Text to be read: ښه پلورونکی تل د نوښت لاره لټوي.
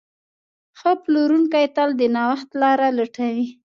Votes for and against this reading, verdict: 2, 0, accepted